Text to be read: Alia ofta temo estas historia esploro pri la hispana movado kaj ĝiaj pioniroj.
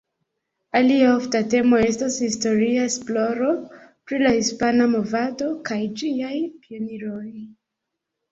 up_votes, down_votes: 1, 3